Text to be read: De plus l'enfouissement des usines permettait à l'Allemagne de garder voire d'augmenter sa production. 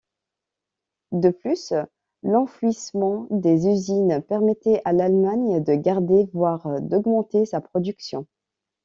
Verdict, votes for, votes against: accepted, 2, 1